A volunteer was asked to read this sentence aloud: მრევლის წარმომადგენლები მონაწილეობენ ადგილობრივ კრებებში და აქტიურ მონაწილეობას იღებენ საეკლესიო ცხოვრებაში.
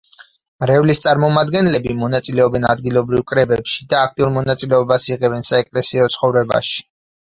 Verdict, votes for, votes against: accepted, 6, 0